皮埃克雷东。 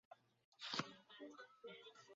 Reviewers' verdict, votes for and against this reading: rejected, 1, 2